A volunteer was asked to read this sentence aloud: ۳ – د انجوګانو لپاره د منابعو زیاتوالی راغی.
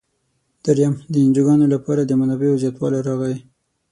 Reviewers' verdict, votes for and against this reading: rejected, 0, 2